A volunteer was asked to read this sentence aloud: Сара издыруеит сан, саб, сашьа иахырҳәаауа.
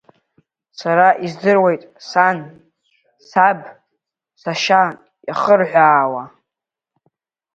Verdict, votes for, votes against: rejected, 1, 2